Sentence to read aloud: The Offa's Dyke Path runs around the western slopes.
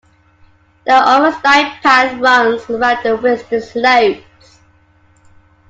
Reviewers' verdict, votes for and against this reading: rejected, 1, 2